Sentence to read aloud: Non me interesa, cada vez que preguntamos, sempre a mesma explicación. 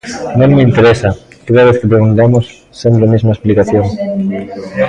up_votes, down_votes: 0, 2